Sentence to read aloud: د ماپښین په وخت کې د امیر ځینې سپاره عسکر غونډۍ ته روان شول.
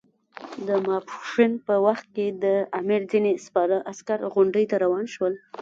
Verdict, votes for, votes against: rejected, 0, 2